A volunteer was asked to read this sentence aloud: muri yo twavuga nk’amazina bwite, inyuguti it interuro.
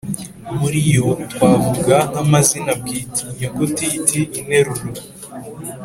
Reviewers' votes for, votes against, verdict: 3, 0, accepted